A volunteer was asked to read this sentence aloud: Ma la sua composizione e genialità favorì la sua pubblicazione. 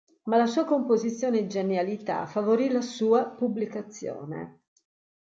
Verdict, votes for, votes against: accepted, 2, 0